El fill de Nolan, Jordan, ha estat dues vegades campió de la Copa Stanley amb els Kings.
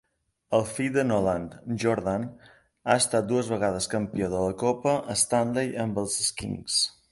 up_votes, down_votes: 2, 0